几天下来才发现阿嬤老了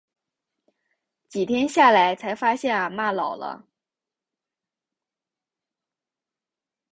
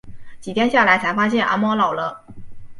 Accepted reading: first